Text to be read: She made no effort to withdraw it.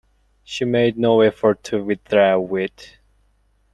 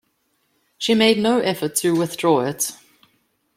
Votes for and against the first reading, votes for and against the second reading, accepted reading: 1, 2, 2, 0, second